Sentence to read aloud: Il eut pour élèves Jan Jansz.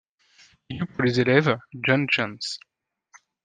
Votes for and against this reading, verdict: 1, 2, rejected